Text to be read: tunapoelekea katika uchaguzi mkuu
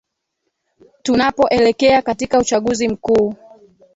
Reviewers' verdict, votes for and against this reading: rejected, 1, 3